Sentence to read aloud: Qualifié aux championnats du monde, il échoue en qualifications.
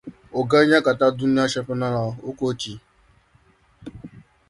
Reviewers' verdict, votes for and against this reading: rejected, 1, 2